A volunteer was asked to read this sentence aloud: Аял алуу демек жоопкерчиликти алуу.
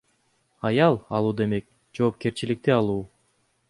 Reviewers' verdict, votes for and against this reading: accepted, 2, 0